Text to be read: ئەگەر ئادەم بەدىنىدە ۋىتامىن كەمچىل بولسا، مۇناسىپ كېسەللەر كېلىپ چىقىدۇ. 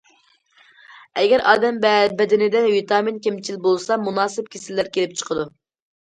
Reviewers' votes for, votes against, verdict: 0, 2, rejected